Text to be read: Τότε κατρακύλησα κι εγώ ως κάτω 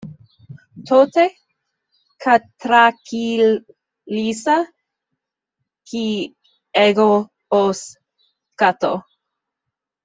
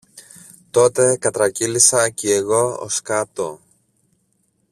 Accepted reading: second